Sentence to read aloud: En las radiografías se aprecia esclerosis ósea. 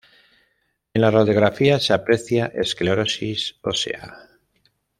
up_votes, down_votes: 0, 2